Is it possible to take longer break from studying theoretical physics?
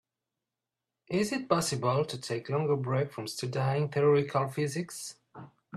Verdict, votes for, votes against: rejected, 0, 2